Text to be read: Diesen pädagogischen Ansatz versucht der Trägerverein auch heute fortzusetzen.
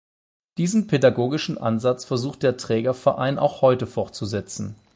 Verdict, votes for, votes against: accepted, 8, 0